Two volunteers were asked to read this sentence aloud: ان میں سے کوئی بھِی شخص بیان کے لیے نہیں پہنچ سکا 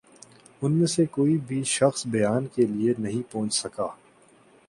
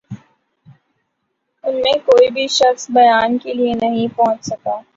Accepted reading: first